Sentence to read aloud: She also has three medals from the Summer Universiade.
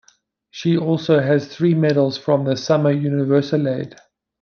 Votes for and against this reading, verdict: 0, 2, rejected